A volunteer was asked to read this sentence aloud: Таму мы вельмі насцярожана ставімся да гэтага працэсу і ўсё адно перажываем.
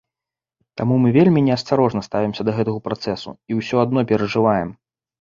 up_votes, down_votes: 0, 2